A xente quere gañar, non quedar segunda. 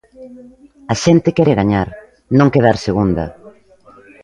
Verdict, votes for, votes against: rejected, 1, 2